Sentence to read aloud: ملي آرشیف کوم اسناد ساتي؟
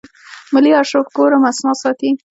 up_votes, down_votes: 2, 0